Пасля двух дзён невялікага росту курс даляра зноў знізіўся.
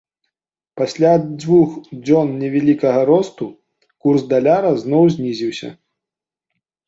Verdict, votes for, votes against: rejected, 1, 2